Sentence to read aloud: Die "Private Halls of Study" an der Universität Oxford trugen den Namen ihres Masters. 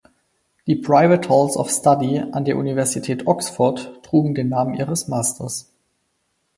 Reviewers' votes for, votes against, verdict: 4, 0, accepted